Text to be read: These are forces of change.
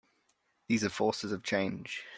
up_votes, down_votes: 2, 0